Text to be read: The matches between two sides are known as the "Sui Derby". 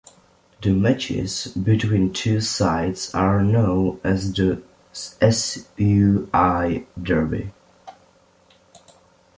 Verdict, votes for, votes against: rejected, 0, 2